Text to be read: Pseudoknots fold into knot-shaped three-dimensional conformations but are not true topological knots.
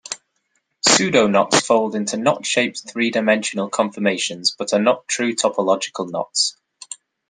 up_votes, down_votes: 1, 2